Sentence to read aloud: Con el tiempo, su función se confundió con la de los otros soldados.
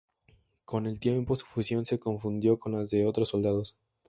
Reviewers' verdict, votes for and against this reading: rejected, 0, 2